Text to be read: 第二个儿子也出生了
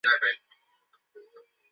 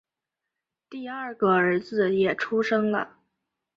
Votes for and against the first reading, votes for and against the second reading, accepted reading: 0, 2, 3, 0, second